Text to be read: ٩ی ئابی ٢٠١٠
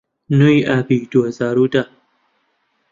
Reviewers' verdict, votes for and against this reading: rejected, 0, 2